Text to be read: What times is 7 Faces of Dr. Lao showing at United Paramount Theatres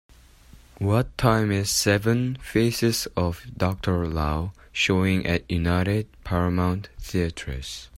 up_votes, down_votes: 0, 2